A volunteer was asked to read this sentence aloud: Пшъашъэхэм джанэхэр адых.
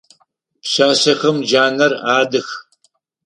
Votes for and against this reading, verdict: 0, 4, rejected